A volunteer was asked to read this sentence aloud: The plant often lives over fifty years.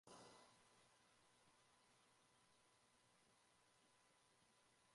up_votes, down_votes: 0, 2